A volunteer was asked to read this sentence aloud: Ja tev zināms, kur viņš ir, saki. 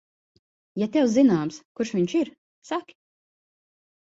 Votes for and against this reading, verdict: 0, 3, rejected